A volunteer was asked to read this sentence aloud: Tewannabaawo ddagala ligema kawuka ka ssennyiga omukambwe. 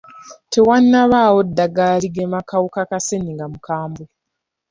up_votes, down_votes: 2, 0